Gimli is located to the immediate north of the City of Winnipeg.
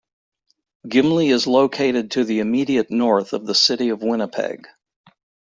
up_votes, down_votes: 2, 0